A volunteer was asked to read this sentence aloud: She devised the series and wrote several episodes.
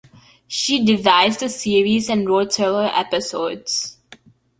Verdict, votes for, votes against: accepted, 2, 0